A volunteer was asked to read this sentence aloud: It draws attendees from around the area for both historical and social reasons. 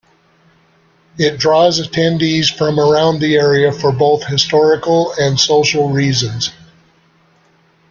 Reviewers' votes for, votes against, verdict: 2, 0, accepted